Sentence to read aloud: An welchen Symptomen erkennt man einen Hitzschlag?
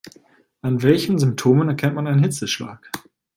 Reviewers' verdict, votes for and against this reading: rejected, 1, 2